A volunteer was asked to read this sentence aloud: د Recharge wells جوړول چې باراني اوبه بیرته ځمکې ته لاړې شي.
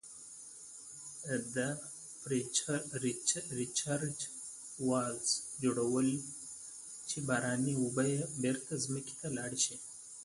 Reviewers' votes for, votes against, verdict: 0, 2, rejected